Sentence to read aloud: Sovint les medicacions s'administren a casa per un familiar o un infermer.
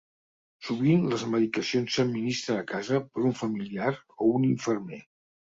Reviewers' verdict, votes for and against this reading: accepted, 3, 0